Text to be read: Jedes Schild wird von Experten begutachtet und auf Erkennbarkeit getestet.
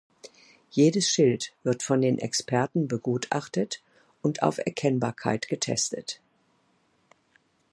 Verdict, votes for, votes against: rejected, 1, 2